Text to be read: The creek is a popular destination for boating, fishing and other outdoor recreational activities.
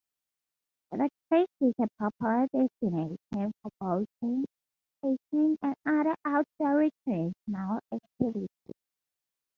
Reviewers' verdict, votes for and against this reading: accepted, 2, 0